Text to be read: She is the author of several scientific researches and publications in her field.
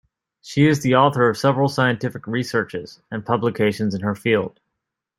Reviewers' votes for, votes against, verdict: 2, 0, accepted